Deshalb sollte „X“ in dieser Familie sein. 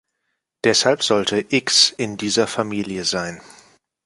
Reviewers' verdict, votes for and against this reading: accepted, 2, 0